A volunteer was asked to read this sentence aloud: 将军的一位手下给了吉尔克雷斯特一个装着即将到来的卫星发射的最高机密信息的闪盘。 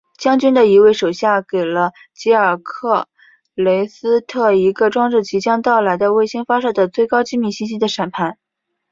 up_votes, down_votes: 2, 0